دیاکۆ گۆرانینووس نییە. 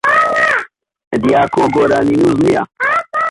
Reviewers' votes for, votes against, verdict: 0, 2, rejected